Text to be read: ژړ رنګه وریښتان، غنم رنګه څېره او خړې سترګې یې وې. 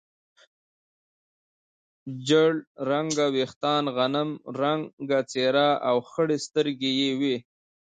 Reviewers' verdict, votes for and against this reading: accepted, 2, 0